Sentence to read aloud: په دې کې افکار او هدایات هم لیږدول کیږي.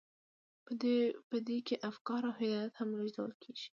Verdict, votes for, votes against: accepted, 2, 0